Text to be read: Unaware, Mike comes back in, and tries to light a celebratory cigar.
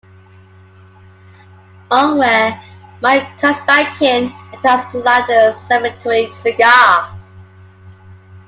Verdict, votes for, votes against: rejected, 1, 2